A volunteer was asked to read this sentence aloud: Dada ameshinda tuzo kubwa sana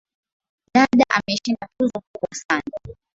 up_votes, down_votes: 7, 1